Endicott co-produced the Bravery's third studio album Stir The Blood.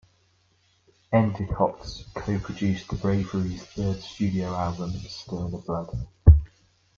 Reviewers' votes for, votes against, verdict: 1, 2, rejected